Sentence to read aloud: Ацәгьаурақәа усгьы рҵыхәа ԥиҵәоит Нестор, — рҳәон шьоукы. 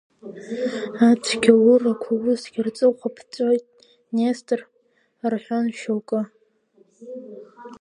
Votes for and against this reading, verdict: 1, 3, rejected